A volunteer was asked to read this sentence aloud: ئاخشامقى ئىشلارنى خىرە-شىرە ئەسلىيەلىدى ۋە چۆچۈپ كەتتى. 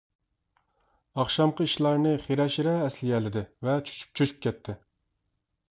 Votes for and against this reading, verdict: 0, 2, rejected